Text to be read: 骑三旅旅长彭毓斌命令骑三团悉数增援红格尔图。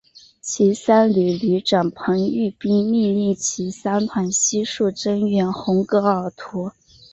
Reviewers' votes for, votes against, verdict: 3, 0, accepted